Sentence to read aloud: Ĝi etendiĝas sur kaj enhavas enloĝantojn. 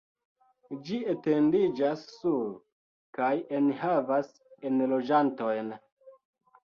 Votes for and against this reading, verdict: 2, 0, accepted